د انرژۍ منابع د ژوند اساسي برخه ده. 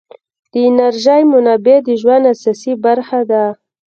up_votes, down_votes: 2, 0